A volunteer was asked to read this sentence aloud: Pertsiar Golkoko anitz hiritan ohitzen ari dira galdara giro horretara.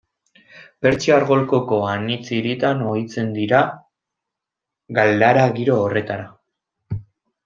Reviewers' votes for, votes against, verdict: 1, 2, rejected